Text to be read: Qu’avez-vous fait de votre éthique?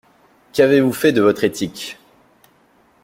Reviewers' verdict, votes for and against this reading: accepted, 2, 0